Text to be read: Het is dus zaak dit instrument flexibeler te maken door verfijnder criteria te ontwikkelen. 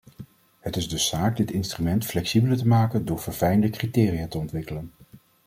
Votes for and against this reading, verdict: 2, 0, accepted